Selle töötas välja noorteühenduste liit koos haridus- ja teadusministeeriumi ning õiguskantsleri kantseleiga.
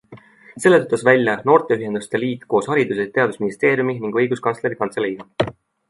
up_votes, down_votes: 2, 0